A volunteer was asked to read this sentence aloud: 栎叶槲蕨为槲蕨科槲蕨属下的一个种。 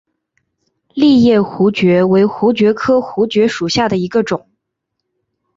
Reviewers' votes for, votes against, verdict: 2, 1, accepted